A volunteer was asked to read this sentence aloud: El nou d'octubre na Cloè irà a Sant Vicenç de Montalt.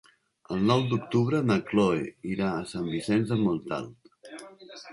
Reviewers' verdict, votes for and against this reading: rejected, 0, 2